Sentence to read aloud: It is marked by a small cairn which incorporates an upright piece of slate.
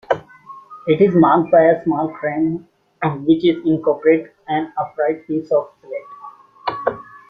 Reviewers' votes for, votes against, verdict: 2, 1, accepted